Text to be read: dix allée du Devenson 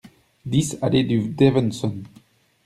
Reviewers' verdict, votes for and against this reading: rejected, 1, 2